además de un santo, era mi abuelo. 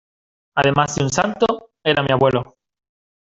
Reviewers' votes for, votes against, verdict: 2, 1, accepted